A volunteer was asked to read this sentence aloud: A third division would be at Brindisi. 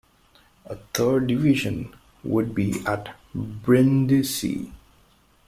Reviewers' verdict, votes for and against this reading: rejected, 1, 2